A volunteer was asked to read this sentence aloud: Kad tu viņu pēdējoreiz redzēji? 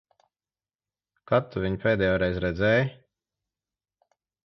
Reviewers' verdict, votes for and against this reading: accepted, 2, 0